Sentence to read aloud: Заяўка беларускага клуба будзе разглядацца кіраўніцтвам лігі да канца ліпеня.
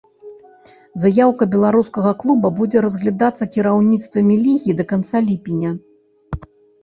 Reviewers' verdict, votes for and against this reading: rejected, 0, 2